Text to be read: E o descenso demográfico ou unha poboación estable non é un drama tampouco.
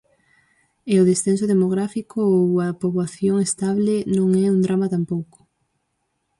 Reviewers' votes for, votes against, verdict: 4, 0, accepted